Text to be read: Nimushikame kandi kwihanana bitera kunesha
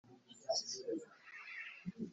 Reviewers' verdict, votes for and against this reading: rejected, 2, 4